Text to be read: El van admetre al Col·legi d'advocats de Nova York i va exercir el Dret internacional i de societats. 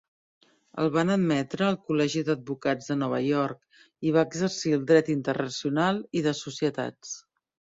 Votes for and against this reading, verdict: 2, 0, accepted